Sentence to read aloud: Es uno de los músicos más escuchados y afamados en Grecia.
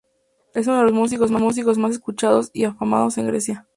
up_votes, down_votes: 2, 0